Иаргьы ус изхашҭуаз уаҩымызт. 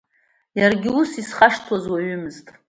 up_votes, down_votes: 2, 1